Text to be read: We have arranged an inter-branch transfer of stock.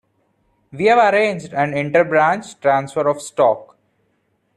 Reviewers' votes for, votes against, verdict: 2, 1, accepted